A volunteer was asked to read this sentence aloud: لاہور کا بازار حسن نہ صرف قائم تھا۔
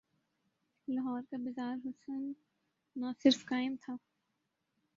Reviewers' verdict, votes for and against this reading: rejected, 0, 2